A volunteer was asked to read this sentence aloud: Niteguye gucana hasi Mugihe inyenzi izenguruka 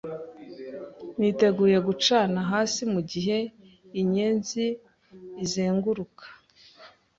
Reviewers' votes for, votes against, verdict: 2, 0, accepted